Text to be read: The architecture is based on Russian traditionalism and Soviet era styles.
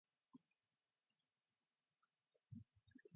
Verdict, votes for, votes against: rejected, 0, 2